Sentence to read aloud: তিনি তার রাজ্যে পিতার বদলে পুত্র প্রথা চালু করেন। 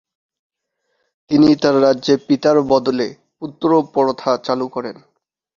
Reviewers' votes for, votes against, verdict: 0, 2, rejected